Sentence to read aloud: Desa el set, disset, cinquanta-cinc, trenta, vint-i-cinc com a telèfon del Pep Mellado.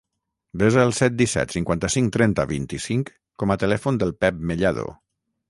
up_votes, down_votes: 0, 3